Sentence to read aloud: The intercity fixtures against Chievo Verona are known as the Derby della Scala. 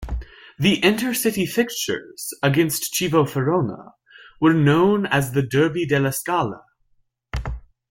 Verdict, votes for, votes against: rejected, 0, 2